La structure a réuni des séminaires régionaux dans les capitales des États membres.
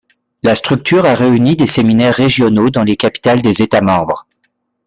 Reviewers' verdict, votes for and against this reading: accepted, 2, 0